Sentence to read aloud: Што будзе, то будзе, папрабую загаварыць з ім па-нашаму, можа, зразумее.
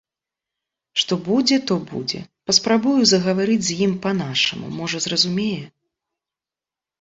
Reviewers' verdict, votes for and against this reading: accepted, 2, 0